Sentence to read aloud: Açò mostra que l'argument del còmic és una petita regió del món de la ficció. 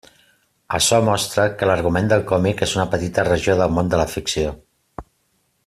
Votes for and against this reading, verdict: 2, 0, accepted